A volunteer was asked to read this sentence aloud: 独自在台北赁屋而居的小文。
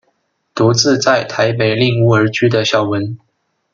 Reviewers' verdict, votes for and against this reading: accepted, 2, 0